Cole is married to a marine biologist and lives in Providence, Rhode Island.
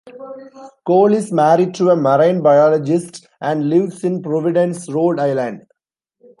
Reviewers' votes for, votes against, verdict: 1, 2, rejected